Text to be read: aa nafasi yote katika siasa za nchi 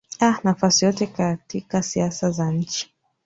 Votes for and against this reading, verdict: 2, 0, accepted